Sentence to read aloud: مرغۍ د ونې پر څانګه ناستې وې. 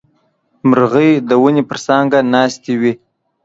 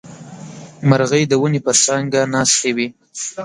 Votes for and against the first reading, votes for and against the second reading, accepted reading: 2, 0, 0, 2, first